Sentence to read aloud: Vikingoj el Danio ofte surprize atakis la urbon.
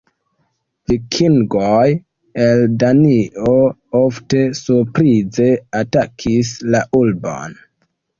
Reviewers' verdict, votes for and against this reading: rejected, 0, 2